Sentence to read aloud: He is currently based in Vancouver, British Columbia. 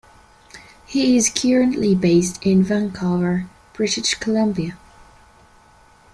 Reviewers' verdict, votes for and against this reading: rejected, 1, 2